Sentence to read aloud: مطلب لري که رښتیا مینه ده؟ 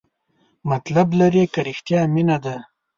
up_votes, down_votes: 2, 0